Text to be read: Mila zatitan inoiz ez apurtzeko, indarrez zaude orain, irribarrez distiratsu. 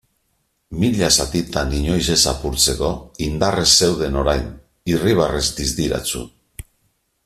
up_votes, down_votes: 1, 2